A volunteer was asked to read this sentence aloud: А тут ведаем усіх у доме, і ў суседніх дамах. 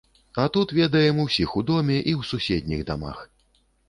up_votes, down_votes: 2, 0